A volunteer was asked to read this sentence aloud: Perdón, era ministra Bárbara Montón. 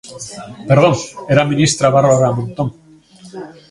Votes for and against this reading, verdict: 1, 2, rejected